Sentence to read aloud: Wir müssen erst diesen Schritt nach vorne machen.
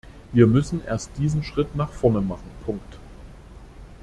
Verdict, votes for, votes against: rejected, 1, 2